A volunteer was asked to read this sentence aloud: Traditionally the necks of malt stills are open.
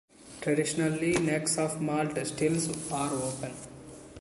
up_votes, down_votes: 0, 2